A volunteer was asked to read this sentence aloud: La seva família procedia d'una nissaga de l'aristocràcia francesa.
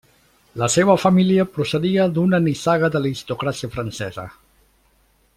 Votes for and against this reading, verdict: 0, 2, rejected